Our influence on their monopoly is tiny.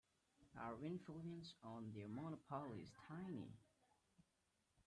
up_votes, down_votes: 0, 2